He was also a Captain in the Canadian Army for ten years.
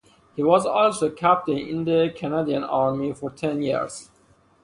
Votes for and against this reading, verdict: 2, 0, accepted